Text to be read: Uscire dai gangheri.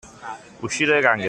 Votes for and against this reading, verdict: 2, 0, accepted